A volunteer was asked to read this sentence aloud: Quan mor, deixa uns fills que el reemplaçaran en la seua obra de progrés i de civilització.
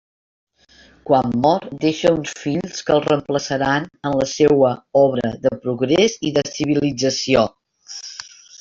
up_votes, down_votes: 1, 2